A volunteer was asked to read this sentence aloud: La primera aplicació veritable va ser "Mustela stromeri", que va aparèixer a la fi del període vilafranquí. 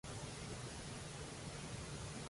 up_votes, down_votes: 0, 2